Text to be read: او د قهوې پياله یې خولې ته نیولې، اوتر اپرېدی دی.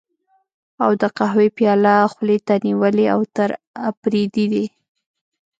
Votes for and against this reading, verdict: 1, 2, rejected